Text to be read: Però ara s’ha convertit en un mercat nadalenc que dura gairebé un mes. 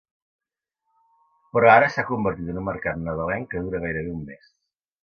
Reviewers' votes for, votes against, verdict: 2, 0, accepted